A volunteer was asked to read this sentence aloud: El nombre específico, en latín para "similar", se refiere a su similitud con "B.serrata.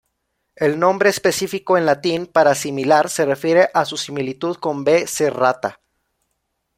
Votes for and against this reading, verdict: 2, 0, accepted